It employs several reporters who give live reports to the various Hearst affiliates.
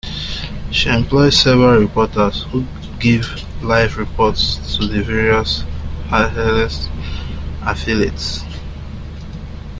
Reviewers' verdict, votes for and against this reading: accepted, 2, 0